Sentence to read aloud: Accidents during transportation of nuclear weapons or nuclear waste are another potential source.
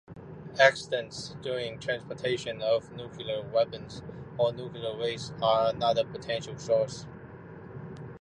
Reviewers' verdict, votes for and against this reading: accepted, 2, 1